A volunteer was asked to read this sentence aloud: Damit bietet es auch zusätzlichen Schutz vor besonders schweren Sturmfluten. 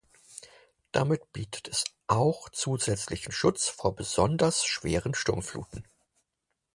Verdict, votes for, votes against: accepted, 4, 0